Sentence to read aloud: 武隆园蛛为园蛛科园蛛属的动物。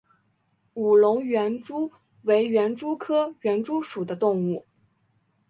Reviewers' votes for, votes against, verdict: 2, 0, accepted